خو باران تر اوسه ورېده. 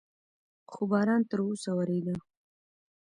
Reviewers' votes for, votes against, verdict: 1, 2, rejected